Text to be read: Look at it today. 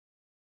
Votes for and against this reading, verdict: 0, 3, rejected